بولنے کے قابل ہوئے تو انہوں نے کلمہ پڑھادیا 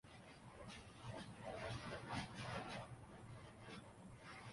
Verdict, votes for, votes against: rejected, 1, 2